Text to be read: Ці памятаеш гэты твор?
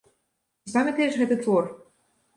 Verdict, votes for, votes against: rejected, 1, 2